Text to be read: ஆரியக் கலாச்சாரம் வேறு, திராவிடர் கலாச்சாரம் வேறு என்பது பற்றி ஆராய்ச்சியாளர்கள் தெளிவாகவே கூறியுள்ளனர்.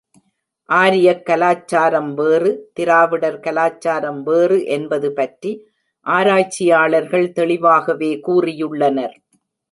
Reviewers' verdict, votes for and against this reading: accepted, 4, 0